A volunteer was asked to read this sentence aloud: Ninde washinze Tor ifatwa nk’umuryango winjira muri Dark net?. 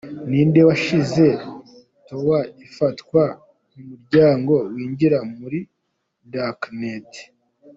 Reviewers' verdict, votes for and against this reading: rejected, 1, 2